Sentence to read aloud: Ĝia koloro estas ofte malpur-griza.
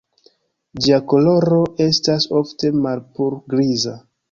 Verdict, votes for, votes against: accepted, 2, 1